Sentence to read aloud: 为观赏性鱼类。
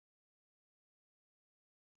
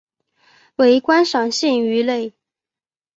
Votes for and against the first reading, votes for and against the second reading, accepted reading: 0, 4, 4, 0, second